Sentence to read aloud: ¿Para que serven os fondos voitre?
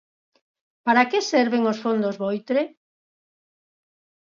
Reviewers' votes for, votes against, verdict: 4, 0, accepted